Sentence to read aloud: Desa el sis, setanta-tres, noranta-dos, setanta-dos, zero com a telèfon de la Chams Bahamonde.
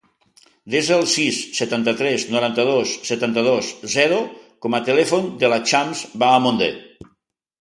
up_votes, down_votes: 2, 0